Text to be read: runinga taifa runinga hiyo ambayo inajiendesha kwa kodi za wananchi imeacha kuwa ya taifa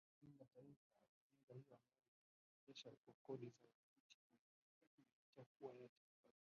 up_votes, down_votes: 2, 6